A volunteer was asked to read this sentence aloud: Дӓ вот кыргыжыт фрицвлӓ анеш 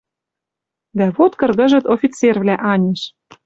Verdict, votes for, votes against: rejected, 0, 2